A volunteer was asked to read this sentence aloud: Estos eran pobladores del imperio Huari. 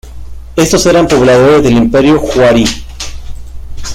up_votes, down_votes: 2, 0